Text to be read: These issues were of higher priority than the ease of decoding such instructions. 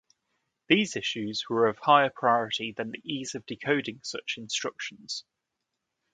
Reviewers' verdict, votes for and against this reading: rejected, 0, 2